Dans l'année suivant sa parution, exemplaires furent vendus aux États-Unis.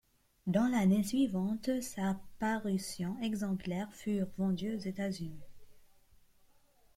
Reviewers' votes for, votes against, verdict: 1, 2, rejected